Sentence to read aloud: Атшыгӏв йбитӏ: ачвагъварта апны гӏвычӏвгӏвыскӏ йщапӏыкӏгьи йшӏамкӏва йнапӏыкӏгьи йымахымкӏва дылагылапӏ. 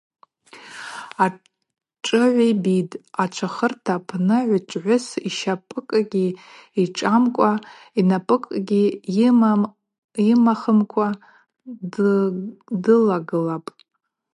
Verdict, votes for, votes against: rejected, 0, 2